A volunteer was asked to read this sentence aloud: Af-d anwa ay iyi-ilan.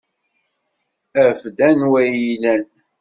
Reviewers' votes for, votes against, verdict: 2, 0, accepted